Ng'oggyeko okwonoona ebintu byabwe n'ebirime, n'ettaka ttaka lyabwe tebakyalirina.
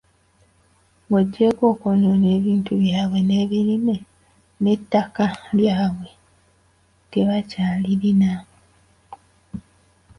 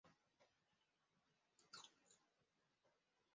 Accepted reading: first